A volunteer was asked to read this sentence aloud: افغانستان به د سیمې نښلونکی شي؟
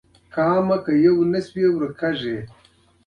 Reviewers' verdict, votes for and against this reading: rejected, 0, 2